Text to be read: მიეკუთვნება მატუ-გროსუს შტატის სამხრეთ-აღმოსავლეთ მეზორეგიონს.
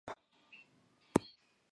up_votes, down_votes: 1, 2